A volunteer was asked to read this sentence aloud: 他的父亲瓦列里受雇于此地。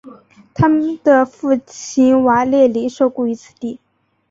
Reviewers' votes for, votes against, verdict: 2, 0, accepted